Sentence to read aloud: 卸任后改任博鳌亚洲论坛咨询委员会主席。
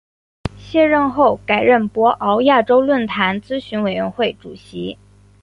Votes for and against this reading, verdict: 3, 0, accepted